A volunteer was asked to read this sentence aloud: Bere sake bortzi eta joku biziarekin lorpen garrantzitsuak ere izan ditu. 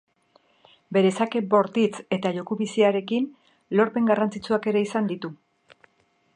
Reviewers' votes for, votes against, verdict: 3, 0, accepted